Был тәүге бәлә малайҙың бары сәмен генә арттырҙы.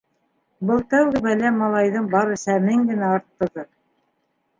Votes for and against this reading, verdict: 2, 1, accepted